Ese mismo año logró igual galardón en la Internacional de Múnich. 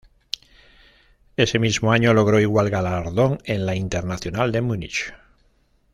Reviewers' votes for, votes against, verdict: 1, 2, rejected